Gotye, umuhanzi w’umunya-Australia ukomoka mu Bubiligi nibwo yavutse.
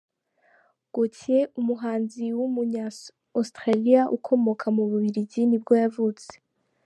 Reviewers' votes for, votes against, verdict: 1, 2, rejected